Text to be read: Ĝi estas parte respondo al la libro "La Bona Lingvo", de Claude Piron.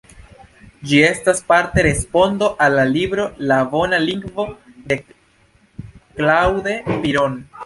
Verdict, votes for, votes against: rejected, 1, 2